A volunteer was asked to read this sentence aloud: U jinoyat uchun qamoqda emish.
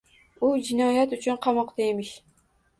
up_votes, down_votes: 2, 1